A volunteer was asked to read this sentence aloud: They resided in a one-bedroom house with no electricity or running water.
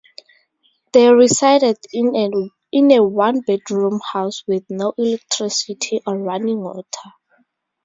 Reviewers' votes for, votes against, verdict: 0, 4, rejected